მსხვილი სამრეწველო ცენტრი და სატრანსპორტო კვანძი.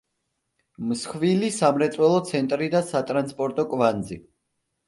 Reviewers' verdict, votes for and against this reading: accepted, 2, 0